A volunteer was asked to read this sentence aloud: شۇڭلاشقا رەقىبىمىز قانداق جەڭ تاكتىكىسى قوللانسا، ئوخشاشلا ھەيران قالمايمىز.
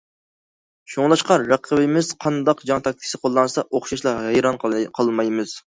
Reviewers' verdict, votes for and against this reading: rejected, 0, 2